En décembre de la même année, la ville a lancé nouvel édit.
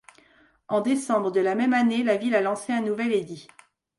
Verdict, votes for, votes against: rejected, 0, 2